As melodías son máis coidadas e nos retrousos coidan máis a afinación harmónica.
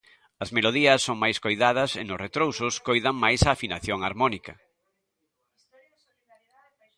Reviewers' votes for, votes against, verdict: 0, 2, rejected